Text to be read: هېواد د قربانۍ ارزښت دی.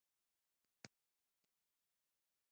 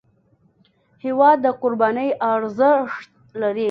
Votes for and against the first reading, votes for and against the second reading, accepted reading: 1, 2, 2, 0, second